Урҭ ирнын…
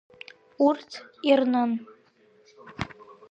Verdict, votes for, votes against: rejected, 0, 2